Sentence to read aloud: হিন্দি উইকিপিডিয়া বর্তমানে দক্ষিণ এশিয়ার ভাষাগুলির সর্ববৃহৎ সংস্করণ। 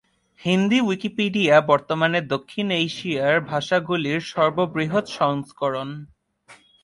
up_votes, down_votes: 2, 0